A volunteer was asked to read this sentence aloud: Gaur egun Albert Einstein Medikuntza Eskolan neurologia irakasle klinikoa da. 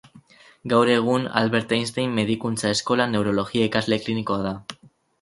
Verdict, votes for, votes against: accepted, 2, 0